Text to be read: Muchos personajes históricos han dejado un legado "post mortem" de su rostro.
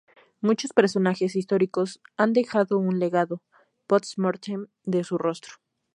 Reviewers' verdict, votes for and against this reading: accepted, 2, 0